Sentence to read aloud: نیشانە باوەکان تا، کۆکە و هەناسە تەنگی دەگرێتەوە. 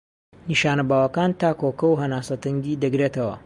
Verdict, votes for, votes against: rejected, 1, 2